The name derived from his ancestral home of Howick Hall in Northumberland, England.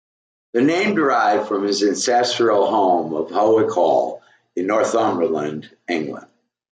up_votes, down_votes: 2, 0